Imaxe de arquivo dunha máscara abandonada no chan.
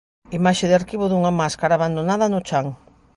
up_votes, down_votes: 2, 0